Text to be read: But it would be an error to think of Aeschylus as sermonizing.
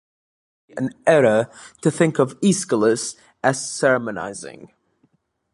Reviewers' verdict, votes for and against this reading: rejected, 1, 3